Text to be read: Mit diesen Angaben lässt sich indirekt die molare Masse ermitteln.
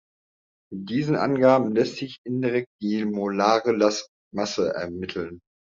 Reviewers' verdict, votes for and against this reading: rejected, 0, 2